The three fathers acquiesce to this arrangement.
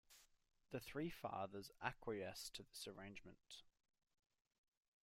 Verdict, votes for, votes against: accepted, 2, 0